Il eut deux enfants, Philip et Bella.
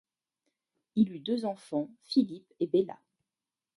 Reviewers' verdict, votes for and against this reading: rejected, 1, 2